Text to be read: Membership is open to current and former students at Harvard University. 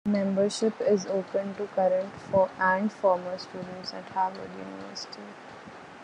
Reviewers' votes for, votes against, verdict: 0, 2, rejected